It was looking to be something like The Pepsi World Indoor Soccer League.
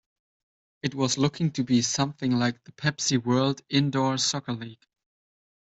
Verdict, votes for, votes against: accepted, 2, 0